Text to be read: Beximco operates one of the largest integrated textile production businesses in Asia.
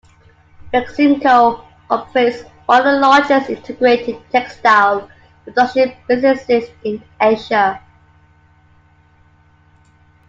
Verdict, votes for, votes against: accepted, 2, 1